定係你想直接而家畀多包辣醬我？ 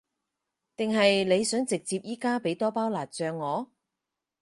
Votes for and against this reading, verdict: 4, 0, accepted